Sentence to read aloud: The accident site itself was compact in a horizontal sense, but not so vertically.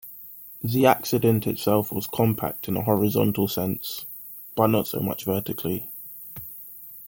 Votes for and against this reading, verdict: 0, 2, rejected